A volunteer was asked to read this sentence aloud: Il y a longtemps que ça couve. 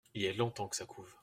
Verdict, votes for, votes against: rejected, 1, 2